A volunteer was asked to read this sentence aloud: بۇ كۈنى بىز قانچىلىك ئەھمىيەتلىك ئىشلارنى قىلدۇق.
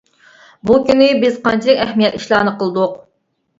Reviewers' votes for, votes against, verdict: 0, 2, rejected